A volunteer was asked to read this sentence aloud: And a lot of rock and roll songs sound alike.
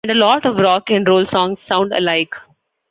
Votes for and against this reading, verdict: 0, 2, rejected